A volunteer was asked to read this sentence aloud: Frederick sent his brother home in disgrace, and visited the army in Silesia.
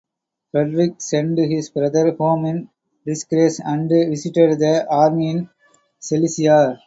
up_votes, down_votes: 0, 2